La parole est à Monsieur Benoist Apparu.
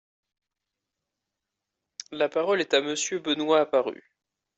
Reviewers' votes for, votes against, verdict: 2, 0, accepted